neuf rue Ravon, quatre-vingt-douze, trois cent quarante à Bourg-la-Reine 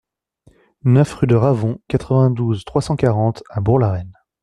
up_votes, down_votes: 0, 2